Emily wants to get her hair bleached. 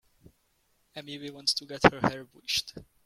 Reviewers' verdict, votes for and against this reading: rejected, 0, 2